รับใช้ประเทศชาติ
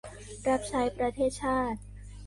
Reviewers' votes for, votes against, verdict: 2, 1, accepted